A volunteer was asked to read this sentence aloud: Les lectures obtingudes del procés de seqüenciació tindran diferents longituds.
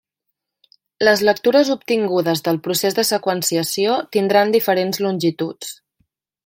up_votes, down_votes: 3, 0